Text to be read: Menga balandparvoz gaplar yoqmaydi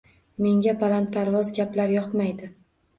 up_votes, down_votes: 2, 0